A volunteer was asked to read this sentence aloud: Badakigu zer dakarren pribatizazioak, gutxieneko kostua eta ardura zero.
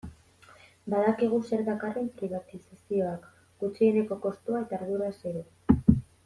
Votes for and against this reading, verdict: 1, 2, rejected